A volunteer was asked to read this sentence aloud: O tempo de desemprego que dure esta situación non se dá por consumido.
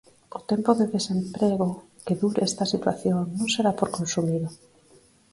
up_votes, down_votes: 2, 4